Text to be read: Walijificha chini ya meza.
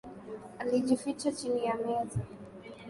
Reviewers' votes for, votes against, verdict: 2, 0, accepted